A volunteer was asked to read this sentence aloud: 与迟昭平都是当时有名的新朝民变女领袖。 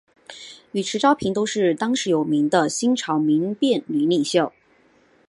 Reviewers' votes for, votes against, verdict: 8, 0, accepted